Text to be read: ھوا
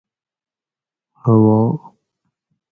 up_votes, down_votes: 4, 0